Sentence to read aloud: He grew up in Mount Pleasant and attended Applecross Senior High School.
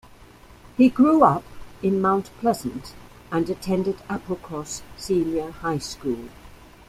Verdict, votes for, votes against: accepted, 2, 0